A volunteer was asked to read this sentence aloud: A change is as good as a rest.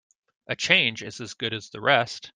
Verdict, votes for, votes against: rejected, 1, 2